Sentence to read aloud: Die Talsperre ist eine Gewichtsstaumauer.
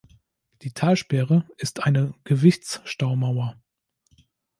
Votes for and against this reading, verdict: 2, 0, accepted